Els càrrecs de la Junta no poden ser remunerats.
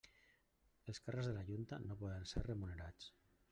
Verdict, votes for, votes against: rejected, 1, 2